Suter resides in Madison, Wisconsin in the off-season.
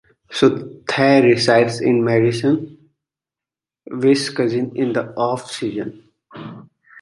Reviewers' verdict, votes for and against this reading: accepted, 2, 1